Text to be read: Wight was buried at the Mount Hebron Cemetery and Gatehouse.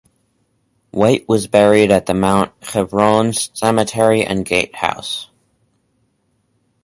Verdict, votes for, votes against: accepted, 4, 2